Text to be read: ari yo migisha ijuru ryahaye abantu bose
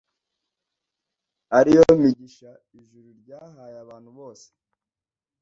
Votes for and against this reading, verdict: 2, 0, accepted